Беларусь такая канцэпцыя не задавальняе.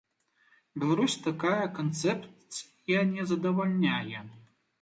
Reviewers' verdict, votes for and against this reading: rejected, 1, 2